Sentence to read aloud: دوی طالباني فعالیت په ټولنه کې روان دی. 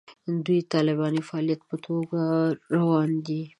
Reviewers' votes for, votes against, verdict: 1, 2, rejected